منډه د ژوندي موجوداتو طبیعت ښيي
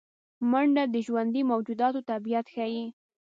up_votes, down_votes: 2, 0